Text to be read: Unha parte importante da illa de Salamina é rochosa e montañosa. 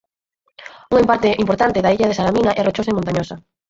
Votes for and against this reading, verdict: 0, 4, rejected